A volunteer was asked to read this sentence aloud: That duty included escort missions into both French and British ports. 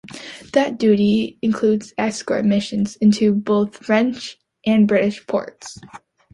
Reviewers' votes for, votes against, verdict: 2, 0, accepted